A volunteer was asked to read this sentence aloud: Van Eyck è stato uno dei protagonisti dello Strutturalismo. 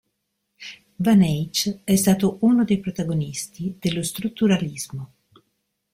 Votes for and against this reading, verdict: 1, 2, rejected